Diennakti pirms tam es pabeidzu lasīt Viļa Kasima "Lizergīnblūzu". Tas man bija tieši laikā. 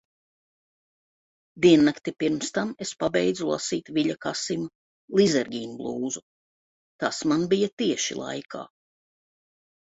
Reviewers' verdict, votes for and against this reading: accepted, 2, 0